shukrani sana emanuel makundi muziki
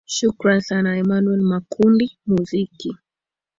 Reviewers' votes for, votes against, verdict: 2, 0, accepted